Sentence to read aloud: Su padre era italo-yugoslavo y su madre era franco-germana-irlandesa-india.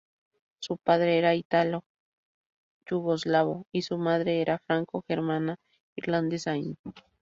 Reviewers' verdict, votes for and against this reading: rejected, 0, 2